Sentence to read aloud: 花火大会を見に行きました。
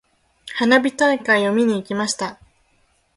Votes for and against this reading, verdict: 1, 2, rejected